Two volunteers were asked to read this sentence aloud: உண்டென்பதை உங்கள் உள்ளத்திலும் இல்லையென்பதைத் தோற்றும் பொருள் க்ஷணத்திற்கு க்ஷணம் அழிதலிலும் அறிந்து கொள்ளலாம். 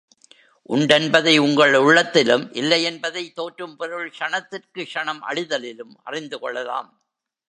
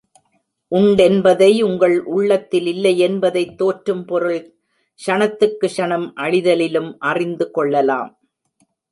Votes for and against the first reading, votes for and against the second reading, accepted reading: 2, 0, 0, 2, first